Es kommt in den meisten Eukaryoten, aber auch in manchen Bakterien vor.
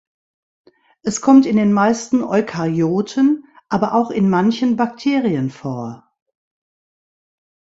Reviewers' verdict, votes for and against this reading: accepted, 2, 0